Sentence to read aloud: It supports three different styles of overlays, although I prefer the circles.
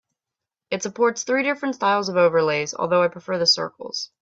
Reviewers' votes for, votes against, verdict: 4, 0, accepted